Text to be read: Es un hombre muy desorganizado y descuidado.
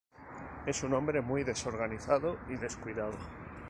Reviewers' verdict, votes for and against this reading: accepted, 2, 0